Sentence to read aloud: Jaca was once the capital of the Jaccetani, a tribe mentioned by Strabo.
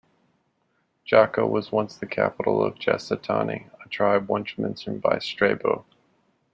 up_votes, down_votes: 1, 2